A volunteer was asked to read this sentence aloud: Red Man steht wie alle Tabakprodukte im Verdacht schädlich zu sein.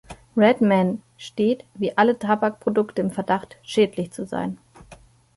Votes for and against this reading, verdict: 2, 0, accepted